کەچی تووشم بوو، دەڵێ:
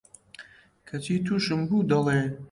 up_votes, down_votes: 2, 0